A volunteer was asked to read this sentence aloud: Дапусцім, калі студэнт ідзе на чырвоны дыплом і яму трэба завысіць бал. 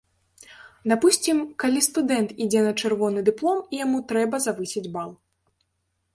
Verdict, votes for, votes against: accepted, 2, 0